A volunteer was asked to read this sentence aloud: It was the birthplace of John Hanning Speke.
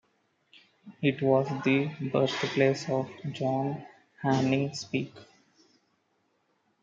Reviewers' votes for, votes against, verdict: 2, 0, accepted